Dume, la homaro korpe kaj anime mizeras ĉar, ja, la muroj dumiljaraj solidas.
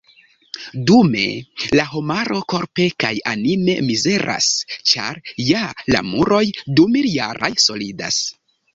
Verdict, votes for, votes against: accepted, 2, 1